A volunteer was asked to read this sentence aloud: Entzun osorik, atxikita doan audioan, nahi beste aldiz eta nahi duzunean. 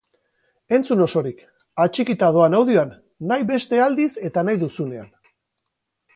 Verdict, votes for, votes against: accepted, 2, 0